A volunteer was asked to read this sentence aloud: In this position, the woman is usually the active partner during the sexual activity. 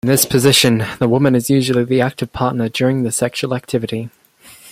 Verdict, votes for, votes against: rejected, 0, 2